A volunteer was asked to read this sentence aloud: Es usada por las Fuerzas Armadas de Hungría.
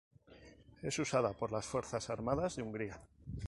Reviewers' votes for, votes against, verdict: 4, 0, accepted